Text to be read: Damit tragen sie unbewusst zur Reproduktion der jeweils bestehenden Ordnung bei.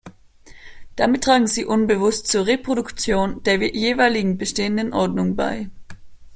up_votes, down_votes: 1, 2